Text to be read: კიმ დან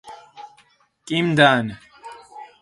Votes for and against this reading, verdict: 0, 4, rejected